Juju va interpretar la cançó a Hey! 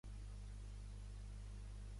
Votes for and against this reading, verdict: 0, 2, rejected